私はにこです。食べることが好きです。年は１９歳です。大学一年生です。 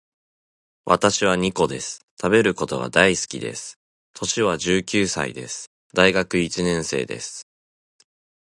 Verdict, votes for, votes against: rejected, 0, 2